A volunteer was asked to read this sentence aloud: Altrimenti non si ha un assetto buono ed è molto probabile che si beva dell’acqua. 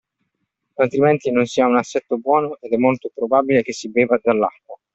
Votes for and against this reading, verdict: 2, 1, accepted